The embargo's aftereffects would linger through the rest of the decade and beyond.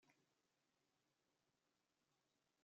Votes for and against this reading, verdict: 0, 2, rejected